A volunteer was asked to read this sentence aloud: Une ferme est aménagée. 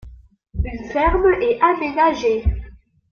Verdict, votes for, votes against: rejected, 0, 2